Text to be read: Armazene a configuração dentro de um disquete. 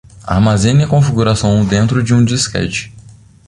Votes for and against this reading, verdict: 2, 0, accepted